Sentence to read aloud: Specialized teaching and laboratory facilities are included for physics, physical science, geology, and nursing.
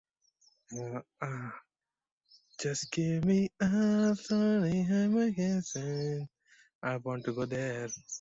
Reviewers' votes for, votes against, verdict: 0, 2, rejected